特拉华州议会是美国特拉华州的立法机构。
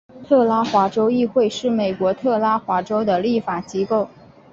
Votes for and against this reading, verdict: 3, 2, accepted